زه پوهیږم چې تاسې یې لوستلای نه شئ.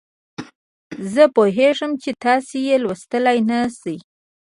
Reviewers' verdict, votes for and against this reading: accepted, 2, 1